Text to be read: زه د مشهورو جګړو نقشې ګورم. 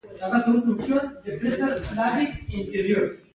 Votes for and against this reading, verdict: 2, 1, accepted